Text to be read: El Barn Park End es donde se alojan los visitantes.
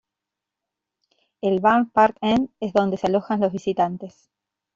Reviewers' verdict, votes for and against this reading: accepted, 2, 0